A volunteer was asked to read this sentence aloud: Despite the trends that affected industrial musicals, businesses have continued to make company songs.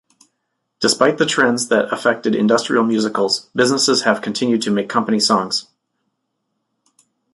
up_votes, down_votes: 2, 0